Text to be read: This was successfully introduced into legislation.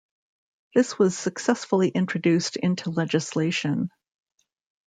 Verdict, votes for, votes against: accepted, 3, 0